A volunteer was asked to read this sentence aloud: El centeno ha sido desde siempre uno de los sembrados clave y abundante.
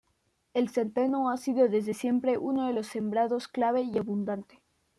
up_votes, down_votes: 2, 0